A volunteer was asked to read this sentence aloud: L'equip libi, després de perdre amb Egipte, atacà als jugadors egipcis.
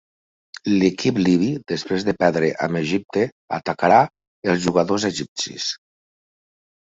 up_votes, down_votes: 0, 2